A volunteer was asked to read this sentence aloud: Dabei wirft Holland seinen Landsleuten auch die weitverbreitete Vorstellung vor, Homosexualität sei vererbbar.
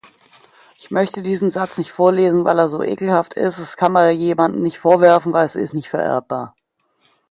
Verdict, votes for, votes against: rejected, 0, 2